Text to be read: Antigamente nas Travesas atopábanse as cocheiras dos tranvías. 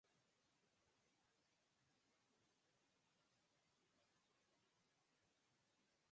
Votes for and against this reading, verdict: 0, 4, rejected